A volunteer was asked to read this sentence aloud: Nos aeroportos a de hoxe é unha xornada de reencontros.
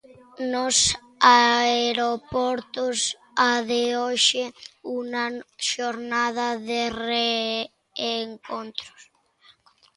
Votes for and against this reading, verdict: 0, 2, rejected